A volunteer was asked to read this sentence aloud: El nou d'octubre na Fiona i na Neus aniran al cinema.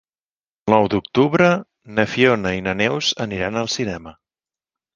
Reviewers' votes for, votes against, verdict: 1, 2, rejected